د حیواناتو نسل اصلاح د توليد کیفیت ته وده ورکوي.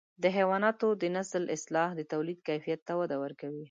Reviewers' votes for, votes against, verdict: 0, 2, rejected